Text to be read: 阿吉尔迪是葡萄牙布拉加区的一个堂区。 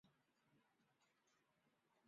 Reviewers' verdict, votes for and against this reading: rejected, 0, 2